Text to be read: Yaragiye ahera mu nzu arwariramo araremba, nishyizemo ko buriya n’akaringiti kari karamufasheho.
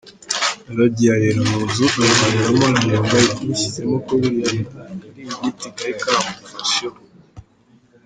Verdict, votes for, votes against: rejected, 1, 2